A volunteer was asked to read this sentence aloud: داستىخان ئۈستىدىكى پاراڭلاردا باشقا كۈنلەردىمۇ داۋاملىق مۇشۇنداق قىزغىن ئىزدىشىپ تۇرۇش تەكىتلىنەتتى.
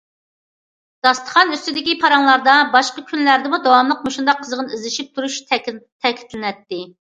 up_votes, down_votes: 0, 2